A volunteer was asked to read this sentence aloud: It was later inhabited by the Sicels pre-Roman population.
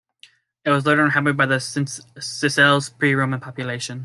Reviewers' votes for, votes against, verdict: 0, 2, rejected